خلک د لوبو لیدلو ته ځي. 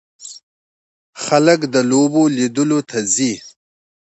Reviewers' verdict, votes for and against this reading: accepted, 2, 0